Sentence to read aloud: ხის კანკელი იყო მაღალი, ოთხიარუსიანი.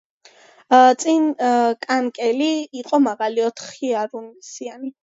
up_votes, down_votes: 0, 2